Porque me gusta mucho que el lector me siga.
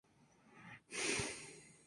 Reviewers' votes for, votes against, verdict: 0, 4, rejected